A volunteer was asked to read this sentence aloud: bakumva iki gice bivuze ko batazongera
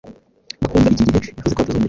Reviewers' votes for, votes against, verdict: 1, 2, rejected